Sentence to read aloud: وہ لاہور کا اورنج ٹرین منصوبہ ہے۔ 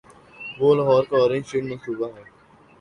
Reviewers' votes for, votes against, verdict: 6, 0, accepted